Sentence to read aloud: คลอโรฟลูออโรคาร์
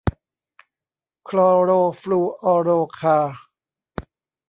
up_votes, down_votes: 1, 2